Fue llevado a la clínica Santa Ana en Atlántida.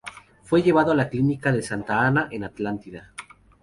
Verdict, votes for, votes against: rejected, 0, 2